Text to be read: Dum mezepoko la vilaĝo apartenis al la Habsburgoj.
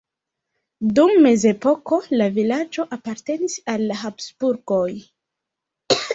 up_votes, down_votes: 1, 2